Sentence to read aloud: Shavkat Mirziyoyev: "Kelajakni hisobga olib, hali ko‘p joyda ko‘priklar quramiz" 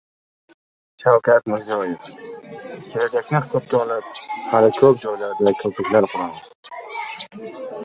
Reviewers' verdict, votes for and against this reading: rejected, 0, 2